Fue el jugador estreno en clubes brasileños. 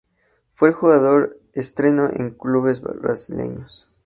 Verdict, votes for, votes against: rejected, 0, 2